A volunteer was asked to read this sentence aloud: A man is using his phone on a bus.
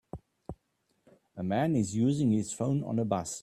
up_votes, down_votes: 3, 0